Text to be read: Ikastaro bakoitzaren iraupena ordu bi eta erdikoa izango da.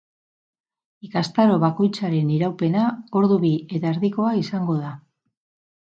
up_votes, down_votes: 2, 2